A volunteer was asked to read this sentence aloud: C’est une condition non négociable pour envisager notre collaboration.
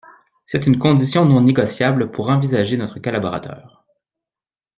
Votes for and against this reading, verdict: 0, 2, rejected